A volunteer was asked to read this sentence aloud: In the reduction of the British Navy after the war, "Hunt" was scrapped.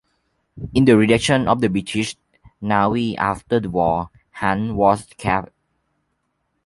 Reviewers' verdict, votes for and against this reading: accepted, 2, 0